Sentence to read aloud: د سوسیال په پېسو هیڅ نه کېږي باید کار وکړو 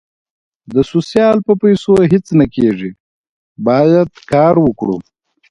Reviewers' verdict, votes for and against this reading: accepted, 2, 0